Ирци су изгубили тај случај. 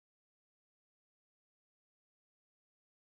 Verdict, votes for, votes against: rejected, 0, 2